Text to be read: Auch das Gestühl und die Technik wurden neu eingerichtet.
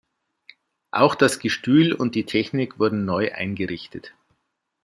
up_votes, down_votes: 2, 0